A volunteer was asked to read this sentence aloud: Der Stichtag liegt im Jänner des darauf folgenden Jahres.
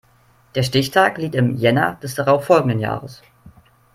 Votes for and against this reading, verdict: 3, 0, accepted